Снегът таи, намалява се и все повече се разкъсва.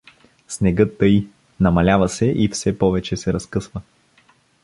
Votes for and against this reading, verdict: 2, 0, accepted